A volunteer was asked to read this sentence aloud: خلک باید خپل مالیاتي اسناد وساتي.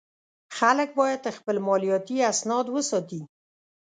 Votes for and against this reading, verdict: 3, 0, accepted